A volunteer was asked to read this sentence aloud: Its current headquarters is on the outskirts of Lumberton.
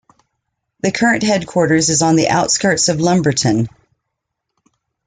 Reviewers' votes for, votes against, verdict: 0, 2, rejected